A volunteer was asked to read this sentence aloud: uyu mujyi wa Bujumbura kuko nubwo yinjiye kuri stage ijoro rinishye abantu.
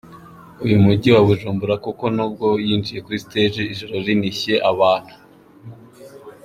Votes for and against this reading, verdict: 2, 1, accepted